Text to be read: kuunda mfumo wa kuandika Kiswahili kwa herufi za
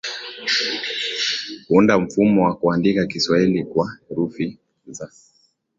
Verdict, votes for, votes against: accepted, 7, 1